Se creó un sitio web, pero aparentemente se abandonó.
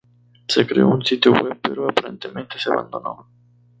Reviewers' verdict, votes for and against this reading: accepted, 2, 0